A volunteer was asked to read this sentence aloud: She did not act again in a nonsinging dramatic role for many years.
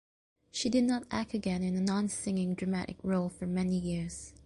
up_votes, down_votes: 2, 0